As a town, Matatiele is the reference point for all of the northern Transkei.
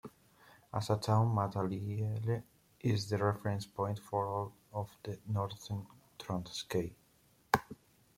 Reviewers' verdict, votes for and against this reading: accepted, 2, 1